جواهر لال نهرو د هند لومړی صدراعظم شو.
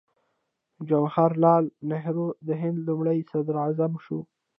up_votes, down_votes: 0, 2